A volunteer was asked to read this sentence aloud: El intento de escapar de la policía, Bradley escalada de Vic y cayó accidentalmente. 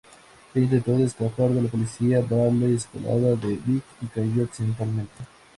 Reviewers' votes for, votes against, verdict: 0, 2, rejected